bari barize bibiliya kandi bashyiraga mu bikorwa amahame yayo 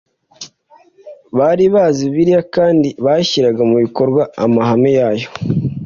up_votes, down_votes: 1, 2